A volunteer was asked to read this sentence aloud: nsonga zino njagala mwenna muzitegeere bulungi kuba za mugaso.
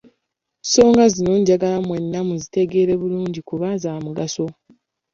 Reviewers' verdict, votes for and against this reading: accepted, 2, 0